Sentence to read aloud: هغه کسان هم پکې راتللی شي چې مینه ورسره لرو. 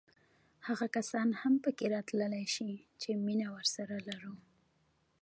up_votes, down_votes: 1, 2